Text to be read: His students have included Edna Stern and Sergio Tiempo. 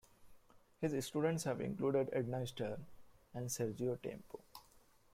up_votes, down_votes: 1, 2